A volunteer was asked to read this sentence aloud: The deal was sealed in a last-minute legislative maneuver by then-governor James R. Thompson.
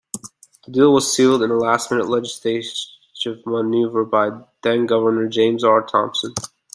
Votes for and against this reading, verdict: 1, 2, rejected